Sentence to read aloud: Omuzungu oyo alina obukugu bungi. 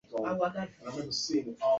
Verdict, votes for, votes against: rejected, 1, 2